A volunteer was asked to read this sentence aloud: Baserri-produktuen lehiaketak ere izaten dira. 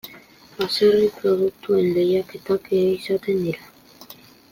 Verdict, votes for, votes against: accepted, 2, 0